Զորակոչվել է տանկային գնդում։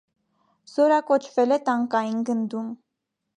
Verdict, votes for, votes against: accepted, 2, 0